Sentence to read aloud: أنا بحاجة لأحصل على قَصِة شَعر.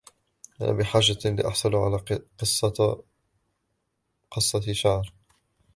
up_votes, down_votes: 0, 2